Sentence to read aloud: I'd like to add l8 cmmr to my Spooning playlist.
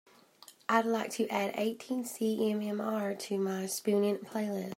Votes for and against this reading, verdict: 0, 2, rejected